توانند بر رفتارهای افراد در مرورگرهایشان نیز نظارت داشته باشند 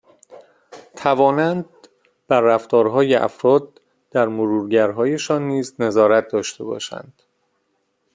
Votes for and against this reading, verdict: 2, 0, accepted